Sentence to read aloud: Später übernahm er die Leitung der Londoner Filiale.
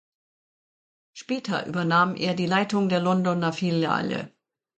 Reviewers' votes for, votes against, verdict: 2, 1, accepted